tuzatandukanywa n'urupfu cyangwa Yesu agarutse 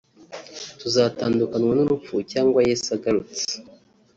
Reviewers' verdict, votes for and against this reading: accepted, 4, 1